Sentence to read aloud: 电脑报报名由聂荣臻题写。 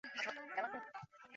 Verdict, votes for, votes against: rejected, 0, 2